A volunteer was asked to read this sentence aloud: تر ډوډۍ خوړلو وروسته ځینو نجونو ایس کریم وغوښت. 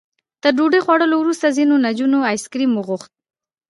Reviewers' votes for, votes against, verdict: 2, 1, accepted